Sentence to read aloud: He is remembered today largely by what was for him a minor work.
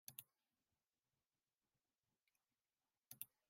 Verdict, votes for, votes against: rejected, 0, 3